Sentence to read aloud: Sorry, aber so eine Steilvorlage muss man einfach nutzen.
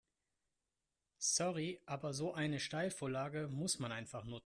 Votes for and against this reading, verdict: 0, 2, rejected